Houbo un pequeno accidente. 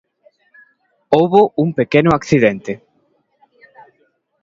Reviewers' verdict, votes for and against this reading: accepted, 2, 0